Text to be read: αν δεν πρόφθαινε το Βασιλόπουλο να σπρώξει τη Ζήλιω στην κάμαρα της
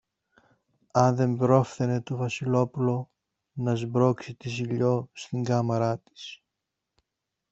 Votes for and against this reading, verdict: 1, 2, rejected